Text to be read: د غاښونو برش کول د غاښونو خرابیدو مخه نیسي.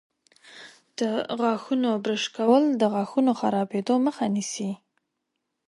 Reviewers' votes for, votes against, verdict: 2, 0, accepted